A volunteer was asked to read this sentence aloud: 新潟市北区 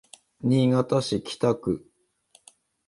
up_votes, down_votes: 2, 1